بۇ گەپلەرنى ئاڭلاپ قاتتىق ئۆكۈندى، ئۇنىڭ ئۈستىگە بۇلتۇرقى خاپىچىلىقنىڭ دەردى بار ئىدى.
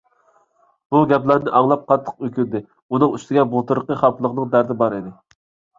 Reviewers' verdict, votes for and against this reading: rejected, 0, 2